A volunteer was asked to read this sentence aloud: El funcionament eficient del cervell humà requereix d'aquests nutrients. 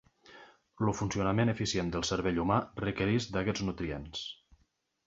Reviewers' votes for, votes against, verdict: 0, 2, rejected